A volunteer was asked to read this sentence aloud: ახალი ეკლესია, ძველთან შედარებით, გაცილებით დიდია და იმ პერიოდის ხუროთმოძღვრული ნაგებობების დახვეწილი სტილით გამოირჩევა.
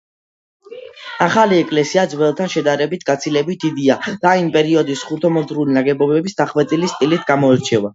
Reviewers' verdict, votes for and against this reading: accepted, 2, 0